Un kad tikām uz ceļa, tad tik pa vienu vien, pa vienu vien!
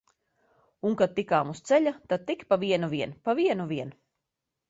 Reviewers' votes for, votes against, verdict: 2, 0, accepted